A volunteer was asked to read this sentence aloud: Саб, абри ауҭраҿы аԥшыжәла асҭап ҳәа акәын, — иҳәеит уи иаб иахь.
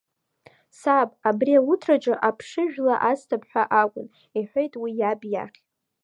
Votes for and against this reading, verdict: 1, 2, rejected